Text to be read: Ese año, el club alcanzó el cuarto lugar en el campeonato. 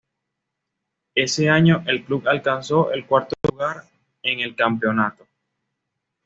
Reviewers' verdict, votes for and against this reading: accepted, 2, 0